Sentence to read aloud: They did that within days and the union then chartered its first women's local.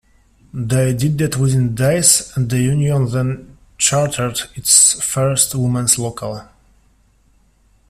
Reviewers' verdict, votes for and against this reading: accepted, 2, 1